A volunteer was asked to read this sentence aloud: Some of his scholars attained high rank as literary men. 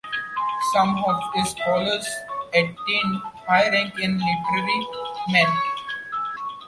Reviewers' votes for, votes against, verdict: 1, 2, rejected